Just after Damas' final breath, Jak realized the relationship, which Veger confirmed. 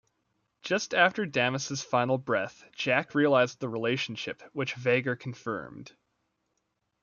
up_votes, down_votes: 2, 0